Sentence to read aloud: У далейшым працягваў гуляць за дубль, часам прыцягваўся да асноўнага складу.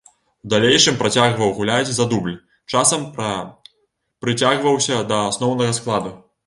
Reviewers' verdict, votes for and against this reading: rejected, 1, 2